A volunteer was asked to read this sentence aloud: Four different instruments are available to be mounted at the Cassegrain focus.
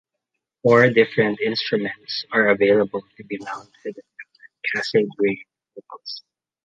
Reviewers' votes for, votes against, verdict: 2, 0, accepted